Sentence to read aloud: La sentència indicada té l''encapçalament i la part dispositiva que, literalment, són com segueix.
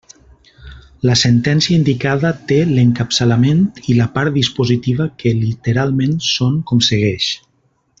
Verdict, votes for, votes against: accepted, 2, 0